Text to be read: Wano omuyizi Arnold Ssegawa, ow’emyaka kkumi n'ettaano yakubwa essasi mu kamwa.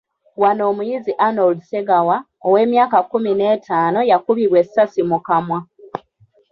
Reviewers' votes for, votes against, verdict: 1, 2, rejected